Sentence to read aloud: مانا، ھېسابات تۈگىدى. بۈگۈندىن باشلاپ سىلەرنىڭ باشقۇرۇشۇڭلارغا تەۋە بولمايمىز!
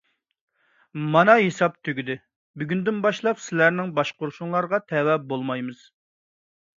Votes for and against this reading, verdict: 0, 2, rejected